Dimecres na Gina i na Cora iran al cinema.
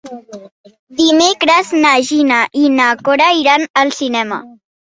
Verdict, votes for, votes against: accepted, 3, 1